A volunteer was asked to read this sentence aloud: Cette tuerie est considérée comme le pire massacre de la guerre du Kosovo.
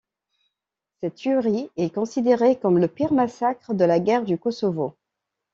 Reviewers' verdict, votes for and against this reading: accepted, 2, 0